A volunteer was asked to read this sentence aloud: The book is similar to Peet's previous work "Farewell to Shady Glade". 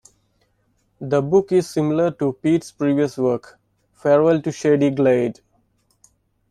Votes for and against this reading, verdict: 2, 0, accepted